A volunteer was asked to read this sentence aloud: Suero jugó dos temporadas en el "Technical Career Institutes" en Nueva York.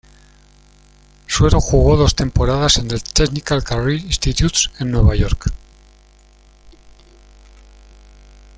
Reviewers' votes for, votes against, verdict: 1, 2, rejected